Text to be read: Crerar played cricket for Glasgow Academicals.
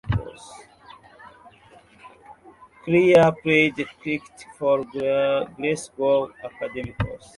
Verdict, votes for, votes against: rejected, 0, 2